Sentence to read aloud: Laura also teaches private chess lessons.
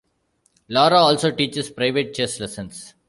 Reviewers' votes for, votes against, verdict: 2, 0, accepted